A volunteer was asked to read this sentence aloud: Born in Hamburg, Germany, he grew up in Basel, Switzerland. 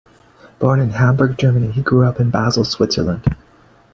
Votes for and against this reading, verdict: 2, 0, accepted